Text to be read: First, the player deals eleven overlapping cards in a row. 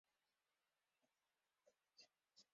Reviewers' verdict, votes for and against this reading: rejected, 0, 2